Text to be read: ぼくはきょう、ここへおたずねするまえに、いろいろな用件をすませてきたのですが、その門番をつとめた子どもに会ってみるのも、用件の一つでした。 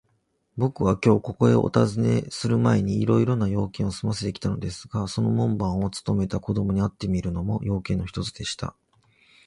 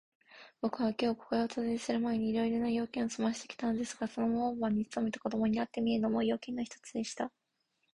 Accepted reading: first